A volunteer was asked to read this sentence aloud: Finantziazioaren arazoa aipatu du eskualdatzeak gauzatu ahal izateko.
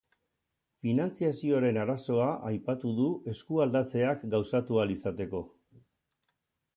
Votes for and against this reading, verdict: 4, 0, accepted